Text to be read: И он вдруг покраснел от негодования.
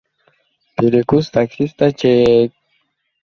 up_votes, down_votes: 0, 2